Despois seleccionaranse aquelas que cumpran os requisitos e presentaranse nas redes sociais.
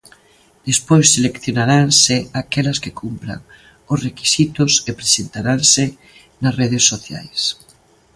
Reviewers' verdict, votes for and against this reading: accepted, 2, 0